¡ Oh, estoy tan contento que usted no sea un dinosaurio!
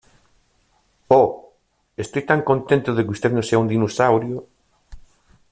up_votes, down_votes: 1, 2